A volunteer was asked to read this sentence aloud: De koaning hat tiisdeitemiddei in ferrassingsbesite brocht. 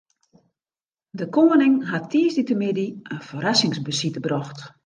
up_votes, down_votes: 2, 0